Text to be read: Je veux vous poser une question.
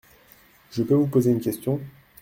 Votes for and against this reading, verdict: 0, 2, rejected